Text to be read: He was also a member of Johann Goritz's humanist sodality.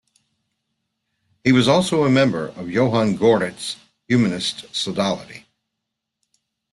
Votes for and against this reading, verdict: 3, 1, accepted